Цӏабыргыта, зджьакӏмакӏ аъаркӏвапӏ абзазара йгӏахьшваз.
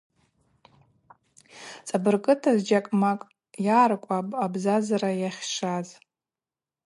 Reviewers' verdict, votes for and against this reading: accepted, 2, 0